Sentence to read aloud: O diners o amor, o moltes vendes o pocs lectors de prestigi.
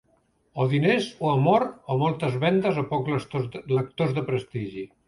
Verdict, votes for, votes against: rejected, 0, 2